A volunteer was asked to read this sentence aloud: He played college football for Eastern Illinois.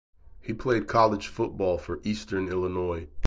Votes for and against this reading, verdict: 2, 2, rejected